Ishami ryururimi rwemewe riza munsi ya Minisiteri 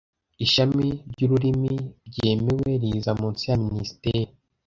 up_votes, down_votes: 1, 2